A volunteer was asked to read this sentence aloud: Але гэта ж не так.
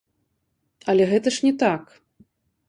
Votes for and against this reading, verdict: 0, 2, rejected